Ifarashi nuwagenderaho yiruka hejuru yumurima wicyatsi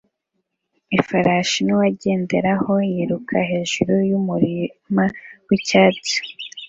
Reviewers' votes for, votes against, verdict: 2, 0, accepted